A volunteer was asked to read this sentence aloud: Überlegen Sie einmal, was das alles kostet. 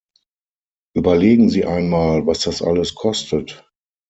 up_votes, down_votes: 6, 0